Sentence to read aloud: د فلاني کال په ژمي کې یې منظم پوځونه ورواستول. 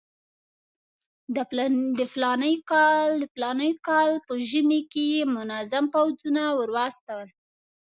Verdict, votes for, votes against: rejected, 1, 2